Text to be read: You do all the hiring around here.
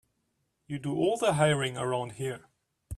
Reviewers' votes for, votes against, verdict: 2, 0, accepted